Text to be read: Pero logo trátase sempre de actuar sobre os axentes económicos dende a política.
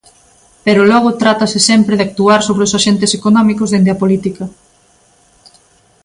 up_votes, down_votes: 2, 0